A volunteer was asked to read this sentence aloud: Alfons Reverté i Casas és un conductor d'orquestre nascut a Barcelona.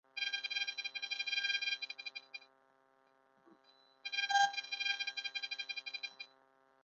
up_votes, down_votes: 0, 3